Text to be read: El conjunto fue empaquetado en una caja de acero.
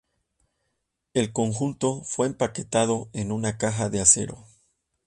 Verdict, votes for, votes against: accepted, 2, 0